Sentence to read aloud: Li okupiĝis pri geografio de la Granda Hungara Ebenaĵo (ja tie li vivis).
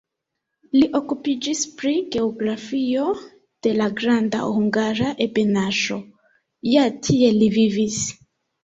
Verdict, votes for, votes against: accepted, 2, 1